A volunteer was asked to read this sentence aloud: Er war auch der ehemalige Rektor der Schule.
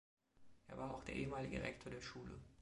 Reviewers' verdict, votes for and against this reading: rejected, 1, 2